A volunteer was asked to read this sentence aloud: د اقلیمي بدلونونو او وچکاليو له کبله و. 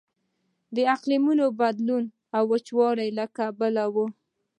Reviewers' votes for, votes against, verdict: 2, 0, accepted